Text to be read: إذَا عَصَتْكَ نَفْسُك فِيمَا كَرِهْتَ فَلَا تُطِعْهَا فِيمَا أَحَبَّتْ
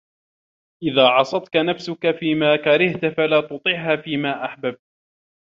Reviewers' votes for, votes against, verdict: 0, 2, rejected